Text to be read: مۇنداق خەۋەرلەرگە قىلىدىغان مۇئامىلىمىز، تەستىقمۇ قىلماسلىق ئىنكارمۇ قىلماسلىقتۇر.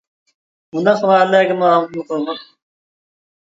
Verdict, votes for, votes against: rejected, 0, 2